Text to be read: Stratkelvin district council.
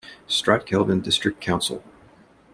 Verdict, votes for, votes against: accepted, 2, 0